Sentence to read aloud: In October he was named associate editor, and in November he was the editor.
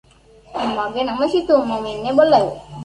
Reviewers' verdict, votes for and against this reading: rejected, 0, 2